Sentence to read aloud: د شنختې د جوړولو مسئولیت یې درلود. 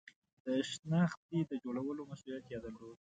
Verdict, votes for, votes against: accepted, 2, 0